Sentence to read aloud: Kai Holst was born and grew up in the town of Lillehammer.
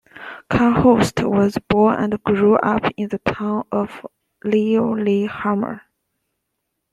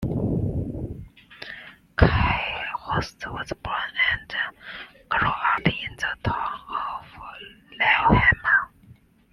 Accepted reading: first